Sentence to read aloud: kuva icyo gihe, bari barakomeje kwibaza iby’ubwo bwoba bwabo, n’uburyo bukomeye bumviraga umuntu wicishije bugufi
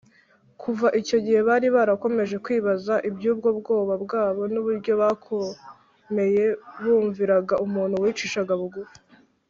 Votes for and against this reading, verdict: 0, 2, rejected